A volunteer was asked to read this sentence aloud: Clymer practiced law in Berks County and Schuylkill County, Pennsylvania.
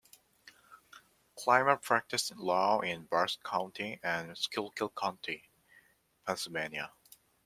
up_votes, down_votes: 2, 1